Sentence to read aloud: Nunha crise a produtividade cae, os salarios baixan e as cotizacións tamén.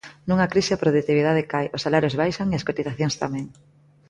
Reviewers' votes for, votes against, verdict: 2, 1, accepted